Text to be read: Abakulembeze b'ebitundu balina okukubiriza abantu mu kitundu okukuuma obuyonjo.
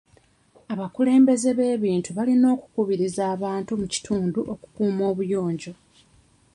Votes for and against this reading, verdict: 1, 2, rejected